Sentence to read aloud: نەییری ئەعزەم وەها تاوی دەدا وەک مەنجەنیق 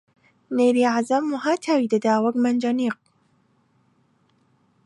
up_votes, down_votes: 1, 2